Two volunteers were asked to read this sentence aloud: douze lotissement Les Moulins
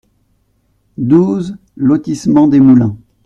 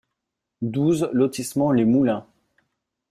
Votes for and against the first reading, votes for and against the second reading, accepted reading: 1, 2, 2, 0, second